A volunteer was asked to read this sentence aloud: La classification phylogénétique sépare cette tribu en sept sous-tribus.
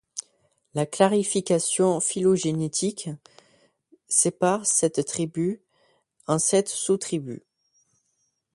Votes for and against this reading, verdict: 0, 2, rejected